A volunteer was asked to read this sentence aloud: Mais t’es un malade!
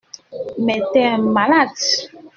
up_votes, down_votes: 2, 1